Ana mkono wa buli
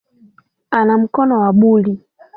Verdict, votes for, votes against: accepted, 2, 0